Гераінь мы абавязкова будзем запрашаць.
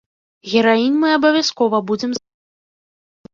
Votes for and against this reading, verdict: 0, 3, rejected